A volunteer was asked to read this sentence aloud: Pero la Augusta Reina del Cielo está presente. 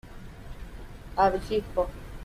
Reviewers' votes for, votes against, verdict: 0, 2, rejected